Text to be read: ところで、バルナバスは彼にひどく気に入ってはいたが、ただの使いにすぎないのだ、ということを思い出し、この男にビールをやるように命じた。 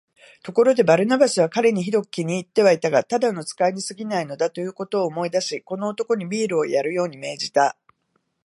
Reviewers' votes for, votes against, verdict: 2, 2, rejected